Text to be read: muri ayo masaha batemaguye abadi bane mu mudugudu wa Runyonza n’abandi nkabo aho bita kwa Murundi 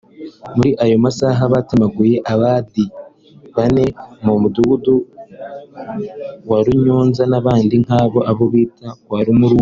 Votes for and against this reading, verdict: 0, 2, rejected